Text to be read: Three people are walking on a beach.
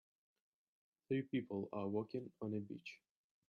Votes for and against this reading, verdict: 2, 0, accepted